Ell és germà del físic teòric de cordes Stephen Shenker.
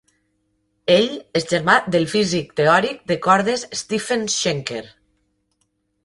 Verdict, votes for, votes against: accepted, 2, 0